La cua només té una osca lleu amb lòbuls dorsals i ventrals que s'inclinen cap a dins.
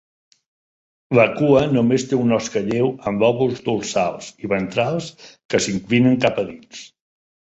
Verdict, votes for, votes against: accepted, 3, 1